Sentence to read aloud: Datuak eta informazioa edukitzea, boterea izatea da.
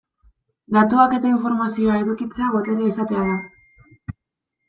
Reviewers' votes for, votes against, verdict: 2, 0, accepted